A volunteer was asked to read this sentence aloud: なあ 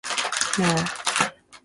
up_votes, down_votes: 0, 2